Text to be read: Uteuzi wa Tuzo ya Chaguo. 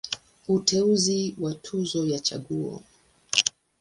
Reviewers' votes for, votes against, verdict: 2, 0, accepted